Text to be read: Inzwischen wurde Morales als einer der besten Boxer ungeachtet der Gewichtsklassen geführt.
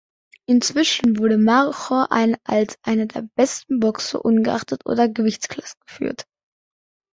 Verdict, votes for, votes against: rejected, 0, 2